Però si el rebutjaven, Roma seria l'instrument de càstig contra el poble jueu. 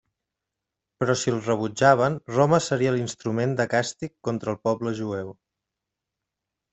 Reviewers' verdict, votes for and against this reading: accepted, 2, 0